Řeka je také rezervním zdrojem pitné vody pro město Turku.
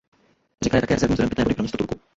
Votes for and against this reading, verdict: 0, 2, rejected